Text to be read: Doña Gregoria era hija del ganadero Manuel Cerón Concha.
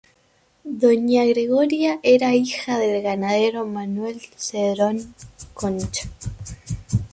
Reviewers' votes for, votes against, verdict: 2, 1, accepted